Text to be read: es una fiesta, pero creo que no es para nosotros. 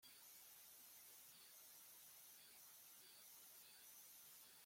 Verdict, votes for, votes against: rejected, 0, 2